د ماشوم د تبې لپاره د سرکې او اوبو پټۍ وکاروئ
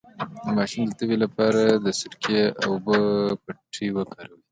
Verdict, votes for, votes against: accepted, 3, 1